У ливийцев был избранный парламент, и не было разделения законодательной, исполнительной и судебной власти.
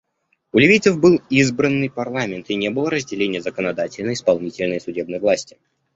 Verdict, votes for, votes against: accepted, 2, 0